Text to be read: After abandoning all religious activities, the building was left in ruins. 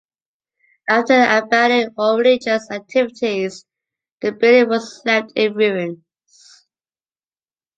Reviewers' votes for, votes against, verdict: 1, 2, rejected